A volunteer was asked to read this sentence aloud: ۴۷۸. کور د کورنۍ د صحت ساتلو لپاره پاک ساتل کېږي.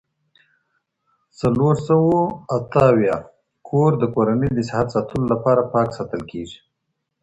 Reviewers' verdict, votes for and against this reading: rejected, 0, 2